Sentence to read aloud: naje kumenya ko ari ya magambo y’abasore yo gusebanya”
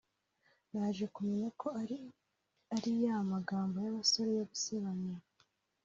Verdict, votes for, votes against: rejected, 0, 2